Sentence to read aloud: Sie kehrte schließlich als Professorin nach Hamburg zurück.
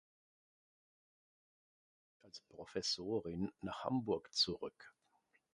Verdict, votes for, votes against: rejected, 0, 2